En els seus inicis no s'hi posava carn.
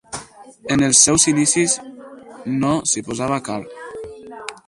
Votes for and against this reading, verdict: 4, 0, accepted